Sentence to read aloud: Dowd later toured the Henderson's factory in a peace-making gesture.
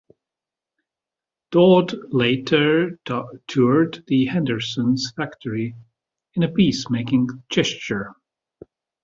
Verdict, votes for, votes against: accepted, 2, 1